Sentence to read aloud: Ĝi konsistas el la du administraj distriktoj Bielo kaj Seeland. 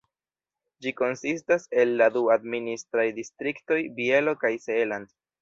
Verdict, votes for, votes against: accepted, 2, 0